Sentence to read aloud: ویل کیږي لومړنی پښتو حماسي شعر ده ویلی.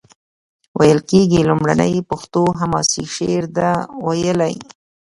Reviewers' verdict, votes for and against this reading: accepted, 2, 1